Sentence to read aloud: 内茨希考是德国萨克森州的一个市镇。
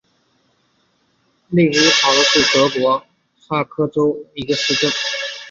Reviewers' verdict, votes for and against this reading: accepted, 3, 1